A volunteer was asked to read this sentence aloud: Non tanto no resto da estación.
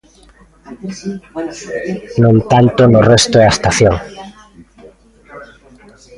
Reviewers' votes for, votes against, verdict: 0, 2, rejected